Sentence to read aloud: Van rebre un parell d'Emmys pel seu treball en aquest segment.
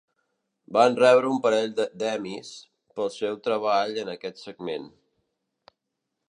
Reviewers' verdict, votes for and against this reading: rejected, 1, 2